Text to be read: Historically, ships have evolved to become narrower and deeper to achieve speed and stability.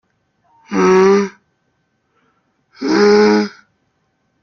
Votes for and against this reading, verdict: 0, 2, rejected